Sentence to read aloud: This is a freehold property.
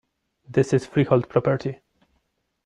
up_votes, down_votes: 0, 2